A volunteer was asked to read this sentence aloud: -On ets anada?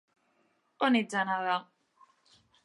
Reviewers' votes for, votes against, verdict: 3, 0, accepted